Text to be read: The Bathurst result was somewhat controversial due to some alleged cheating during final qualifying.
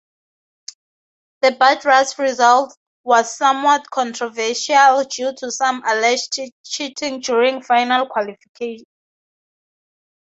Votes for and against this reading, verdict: 0, 2, rejected